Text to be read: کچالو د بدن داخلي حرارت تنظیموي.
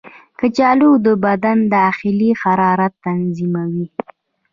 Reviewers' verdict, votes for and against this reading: rejected, 1, 2